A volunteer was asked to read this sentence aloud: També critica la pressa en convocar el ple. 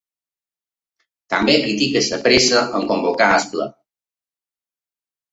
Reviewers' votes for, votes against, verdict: 0, 2, rejected